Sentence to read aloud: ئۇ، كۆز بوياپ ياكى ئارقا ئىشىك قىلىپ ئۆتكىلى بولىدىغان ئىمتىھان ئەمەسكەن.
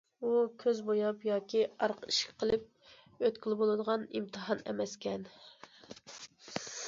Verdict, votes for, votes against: accepted, 2, 0